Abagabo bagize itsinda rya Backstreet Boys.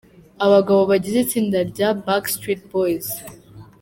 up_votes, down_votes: 2, 0